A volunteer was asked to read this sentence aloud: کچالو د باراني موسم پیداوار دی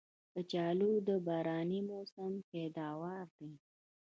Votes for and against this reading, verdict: 2, 1, accepted